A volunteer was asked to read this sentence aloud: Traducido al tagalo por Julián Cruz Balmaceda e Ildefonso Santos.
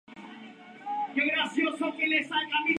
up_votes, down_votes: 0, 2